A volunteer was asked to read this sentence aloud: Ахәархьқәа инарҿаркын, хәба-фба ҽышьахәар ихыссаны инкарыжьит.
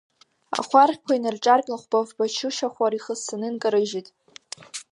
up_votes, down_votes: 1, 2